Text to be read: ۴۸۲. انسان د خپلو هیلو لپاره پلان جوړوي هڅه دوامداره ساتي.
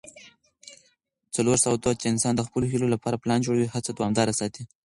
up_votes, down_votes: 0, 2